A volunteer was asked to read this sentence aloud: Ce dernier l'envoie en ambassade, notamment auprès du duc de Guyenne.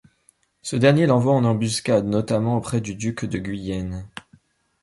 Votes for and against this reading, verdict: 0, 2, rejected